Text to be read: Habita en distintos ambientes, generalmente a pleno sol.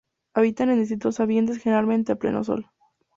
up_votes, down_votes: 2, 0